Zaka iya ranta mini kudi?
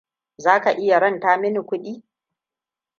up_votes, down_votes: 2, 0